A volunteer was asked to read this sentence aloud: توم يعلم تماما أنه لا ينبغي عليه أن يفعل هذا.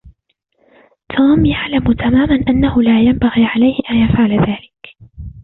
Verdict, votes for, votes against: accepted, 2, 0